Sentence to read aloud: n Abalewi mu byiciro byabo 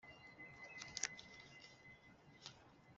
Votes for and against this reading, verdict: 0, 2, rejected